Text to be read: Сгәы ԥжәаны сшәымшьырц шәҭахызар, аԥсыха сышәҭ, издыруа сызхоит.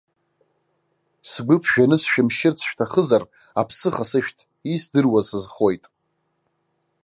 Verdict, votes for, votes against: accepted, 2, 0